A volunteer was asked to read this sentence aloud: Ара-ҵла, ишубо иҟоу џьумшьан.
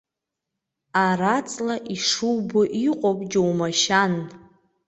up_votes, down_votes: 1, 2